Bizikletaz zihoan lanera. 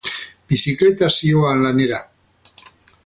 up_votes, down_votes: 2, 2